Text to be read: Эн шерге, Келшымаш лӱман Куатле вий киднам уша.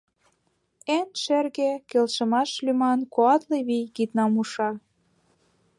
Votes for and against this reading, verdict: 2, 0, accepted